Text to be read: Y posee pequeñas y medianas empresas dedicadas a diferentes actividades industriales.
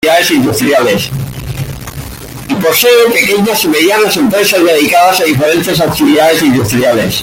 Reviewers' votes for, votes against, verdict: 0, 2, rejected